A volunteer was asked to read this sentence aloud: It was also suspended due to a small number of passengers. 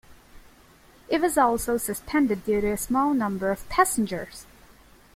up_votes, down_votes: 2, 0